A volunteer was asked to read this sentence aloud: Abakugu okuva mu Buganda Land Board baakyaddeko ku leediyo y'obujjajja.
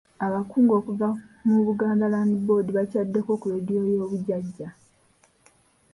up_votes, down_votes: 1, 2